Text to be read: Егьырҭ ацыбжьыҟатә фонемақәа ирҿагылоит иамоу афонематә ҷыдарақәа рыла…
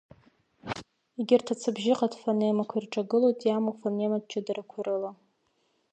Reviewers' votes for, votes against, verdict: 2, 0, accepted